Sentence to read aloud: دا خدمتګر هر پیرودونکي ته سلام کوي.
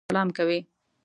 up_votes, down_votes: 0, 2